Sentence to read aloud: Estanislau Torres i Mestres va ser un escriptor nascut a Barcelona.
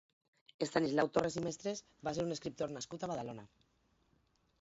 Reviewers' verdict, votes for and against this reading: rejected, 0, 4